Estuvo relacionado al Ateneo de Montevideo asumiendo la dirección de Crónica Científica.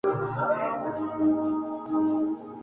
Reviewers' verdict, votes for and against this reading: rejected, 0, 2